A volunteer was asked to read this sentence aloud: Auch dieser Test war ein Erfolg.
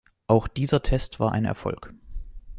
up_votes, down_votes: 2, 0